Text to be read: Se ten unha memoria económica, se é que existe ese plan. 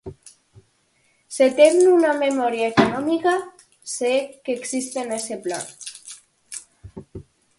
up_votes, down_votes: 0, 4